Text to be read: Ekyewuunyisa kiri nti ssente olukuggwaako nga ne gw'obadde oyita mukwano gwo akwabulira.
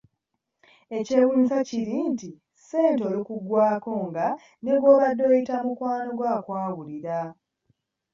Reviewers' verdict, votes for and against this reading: accepted, 2, 0